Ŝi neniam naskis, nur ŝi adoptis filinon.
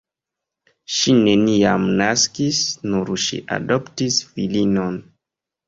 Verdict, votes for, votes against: accepted, 2, 1